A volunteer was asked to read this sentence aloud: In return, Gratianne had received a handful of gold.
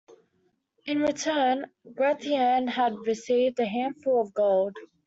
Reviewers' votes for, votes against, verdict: 2, 0, accepted